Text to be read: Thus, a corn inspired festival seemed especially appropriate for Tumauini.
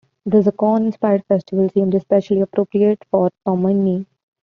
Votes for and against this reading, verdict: 1, 2, rejected